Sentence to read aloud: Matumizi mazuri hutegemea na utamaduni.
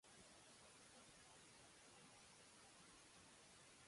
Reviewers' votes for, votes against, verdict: 0, 2, rejected